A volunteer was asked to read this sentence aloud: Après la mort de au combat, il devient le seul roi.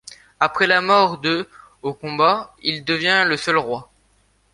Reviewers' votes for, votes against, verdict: 2, 0, accepted